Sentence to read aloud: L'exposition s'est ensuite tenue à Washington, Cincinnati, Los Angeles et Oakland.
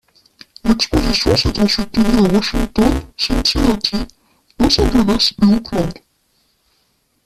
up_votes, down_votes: 1, 2